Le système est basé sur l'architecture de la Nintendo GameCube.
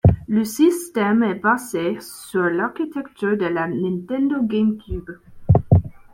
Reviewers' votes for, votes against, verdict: 2, 0, accepted